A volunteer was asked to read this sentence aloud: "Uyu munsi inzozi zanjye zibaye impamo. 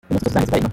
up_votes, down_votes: 0, 2